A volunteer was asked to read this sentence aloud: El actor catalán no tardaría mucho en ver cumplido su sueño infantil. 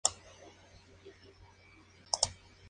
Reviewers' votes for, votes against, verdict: 2, 0, accepted